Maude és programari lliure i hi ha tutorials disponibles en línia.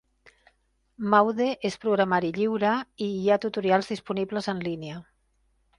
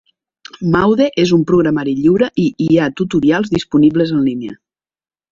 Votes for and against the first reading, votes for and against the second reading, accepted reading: 4, 0, 0, 2, first